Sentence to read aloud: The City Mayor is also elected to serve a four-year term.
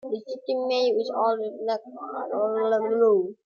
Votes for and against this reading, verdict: 1, 2, rejected